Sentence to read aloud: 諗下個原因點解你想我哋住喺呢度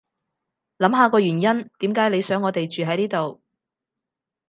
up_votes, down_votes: 4, 0